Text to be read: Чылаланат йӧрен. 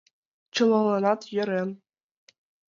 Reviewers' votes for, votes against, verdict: 2, 0, accepted